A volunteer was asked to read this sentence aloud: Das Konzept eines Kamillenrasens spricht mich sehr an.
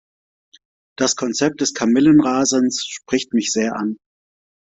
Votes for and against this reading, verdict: 1, 2, rejected